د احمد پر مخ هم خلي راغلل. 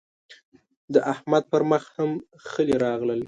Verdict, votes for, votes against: rejected, 1, 2